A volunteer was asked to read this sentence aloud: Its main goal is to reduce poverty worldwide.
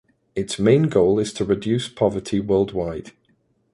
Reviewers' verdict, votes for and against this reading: accepted, 2, 0